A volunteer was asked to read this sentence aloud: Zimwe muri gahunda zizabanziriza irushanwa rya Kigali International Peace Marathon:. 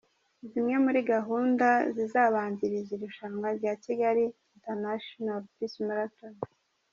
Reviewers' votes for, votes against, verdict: 2, 0, accepted